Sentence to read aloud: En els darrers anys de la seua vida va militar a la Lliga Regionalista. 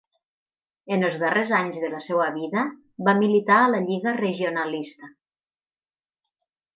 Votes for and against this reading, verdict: 6, 0, accepted